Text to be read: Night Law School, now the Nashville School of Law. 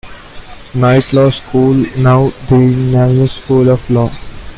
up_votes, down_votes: 0, 2